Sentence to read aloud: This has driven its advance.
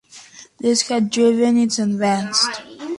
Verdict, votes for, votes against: accepted, 2, 0